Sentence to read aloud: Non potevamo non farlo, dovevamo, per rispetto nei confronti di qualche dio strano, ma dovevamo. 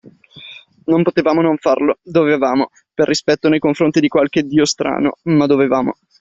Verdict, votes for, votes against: accepted, 2, 0